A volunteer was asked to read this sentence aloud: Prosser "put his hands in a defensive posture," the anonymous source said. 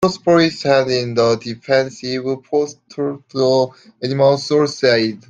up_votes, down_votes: 0, 2